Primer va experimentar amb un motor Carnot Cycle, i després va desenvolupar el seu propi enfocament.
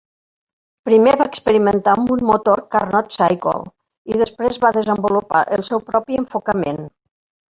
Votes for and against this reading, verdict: 1, 2, rejected